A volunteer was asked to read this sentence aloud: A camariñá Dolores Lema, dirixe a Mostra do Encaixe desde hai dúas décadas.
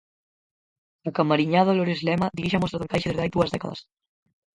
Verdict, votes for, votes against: rejected, 0, 4